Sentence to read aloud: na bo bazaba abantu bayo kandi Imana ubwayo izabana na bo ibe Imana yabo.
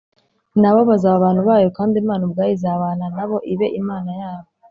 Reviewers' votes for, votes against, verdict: 2, 0, accepted